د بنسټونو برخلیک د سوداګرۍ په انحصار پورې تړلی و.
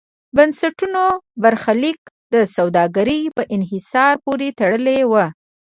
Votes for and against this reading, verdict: 0, 2, rejected